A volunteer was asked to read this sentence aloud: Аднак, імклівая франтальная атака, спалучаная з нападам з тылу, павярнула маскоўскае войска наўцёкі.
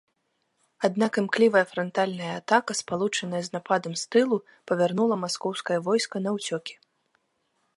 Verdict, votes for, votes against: accepted, 3, 0